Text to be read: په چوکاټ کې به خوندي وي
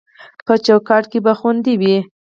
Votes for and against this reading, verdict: 4, 2, accepted